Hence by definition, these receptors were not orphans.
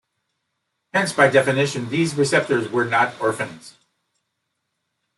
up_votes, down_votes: 2, 0